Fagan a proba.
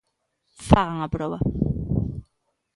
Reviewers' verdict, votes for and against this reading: accepted, 2, 0